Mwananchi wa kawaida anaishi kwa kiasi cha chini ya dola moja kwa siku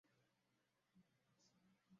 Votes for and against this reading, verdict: 0, 2, rejected